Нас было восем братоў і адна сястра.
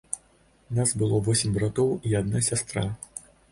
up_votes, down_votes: 2, 0